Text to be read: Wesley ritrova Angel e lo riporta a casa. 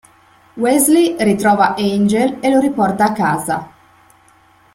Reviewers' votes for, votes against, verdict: 2, 0, accepted